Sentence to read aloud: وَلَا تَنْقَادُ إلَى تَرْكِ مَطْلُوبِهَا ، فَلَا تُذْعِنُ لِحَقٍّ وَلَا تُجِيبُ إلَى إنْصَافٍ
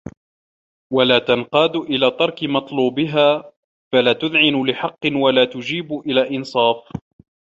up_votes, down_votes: 2, 0